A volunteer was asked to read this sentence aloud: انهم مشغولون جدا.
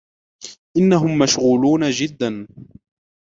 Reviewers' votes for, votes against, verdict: 0, 2, rejected